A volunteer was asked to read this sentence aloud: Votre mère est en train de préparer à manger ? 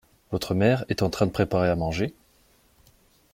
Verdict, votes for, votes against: accepted, 2, 0